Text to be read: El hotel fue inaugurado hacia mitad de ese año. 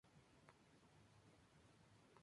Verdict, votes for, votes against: rejected, 0, 2